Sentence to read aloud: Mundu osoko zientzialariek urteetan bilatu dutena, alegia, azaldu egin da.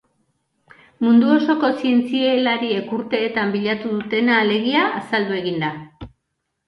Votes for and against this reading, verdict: 0, 2, rejected